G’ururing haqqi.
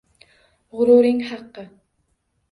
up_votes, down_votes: 2, 1